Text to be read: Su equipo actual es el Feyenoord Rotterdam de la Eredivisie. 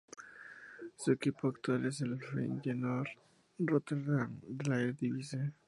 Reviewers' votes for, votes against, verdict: 0, 2, rejected